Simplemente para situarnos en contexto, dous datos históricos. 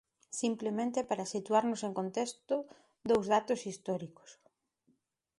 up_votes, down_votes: 2, 0